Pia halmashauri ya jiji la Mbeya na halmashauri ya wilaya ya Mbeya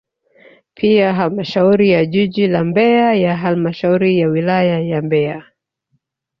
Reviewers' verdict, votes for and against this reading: rejected, 2, 3